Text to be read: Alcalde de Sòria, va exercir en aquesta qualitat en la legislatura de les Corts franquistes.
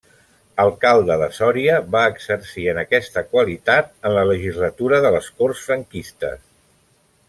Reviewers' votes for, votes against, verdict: 2, 1, accepted